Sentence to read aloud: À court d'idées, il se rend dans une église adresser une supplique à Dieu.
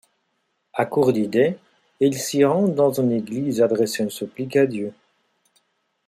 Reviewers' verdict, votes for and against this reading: rejected, 1, 2